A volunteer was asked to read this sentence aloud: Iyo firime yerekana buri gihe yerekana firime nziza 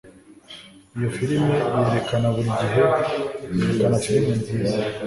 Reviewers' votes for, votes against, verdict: 1, 2, rejected